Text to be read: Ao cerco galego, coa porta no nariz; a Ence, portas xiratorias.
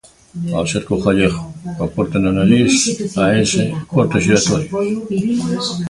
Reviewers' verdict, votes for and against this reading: rejected, 0, 2